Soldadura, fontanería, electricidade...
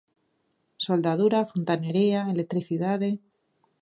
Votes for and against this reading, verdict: 3, 0, accepted